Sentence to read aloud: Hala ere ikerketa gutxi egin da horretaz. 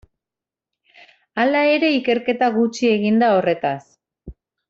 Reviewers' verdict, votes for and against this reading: accepted, 2, 0